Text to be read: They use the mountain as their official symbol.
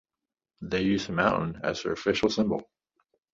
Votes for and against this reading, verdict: 3, 1, accepted